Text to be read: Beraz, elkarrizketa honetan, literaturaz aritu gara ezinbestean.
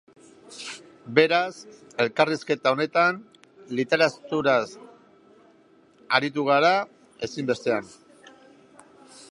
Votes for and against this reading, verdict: 1, 2, rejected